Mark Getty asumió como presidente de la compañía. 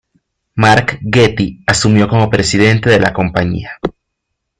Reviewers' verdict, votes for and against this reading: accepted, 2, 0